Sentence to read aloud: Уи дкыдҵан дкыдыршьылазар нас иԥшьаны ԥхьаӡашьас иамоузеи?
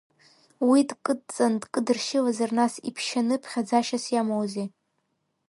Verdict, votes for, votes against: accepted, 2, 0